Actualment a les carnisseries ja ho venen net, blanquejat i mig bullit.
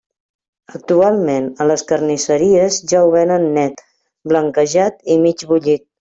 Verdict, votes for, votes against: accepted, 3, 0